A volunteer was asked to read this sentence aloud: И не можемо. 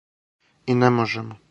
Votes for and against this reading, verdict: 4, 0, accepted